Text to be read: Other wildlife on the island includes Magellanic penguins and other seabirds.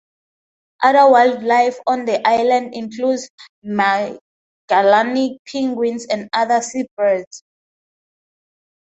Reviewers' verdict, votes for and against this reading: accepted, 2, 0